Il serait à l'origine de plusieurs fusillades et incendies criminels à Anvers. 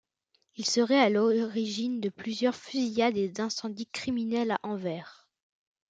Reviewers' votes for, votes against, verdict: 0, 2, rejected